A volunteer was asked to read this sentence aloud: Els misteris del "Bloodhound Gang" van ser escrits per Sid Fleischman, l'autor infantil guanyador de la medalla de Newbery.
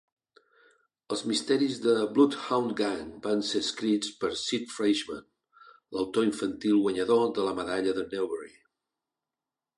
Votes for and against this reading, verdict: 2, 0, accepted